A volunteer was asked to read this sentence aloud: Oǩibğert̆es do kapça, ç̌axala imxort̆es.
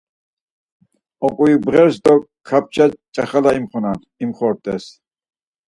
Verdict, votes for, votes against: rejected, 2, 4